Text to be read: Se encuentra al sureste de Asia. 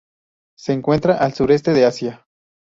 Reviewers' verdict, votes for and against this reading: accepted, 2, 0